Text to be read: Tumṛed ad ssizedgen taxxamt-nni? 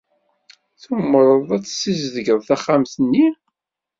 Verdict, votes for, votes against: accepted, 2, 1